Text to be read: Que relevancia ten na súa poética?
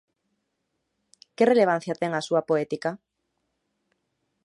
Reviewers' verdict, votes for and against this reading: accepted, 2, 1